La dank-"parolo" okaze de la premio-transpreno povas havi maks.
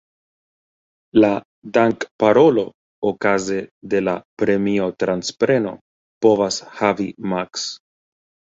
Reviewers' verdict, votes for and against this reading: rejected, 1, 2